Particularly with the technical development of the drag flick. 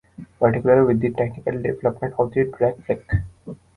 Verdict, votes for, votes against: rejected, 1, 2